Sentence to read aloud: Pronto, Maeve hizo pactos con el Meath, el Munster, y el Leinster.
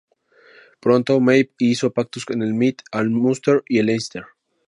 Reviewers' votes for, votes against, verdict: 0, 2, rejected